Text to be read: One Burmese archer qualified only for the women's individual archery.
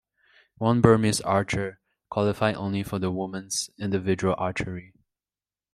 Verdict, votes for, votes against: rejected, 1, 2